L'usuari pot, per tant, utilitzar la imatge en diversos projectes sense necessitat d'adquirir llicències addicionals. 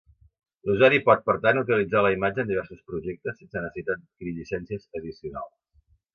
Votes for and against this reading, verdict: 1, 2, rejected